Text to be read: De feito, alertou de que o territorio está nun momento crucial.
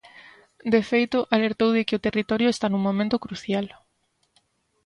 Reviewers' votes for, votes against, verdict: 2, 0, accepted